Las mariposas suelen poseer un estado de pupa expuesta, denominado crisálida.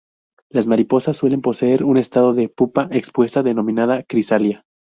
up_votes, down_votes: 2, 2